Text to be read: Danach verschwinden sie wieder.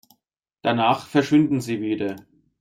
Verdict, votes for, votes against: accepted, 2, 1